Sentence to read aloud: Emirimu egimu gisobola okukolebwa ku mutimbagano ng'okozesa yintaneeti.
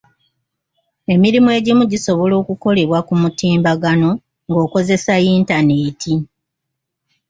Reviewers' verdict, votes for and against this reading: accepted, 2, 0